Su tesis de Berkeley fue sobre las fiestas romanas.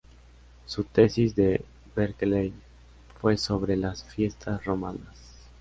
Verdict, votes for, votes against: accepted, 2, 0